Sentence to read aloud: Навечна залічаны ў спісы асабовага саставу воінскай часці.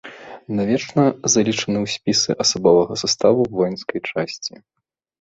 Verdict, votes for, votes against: accepted, 3, 0